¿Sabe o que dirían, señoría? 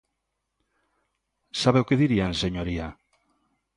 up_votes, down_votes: 2, 0